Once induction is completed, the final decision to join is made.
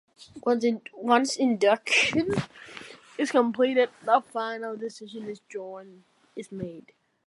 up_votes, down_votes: 1, 2